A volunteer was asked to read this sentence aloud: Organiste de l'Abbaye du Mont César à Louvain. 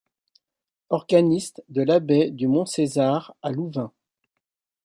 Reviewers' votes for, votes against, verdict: 0, 2, rejected